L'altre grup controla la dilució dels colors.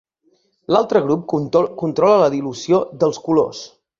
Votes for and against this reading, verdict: 1, 5, rejected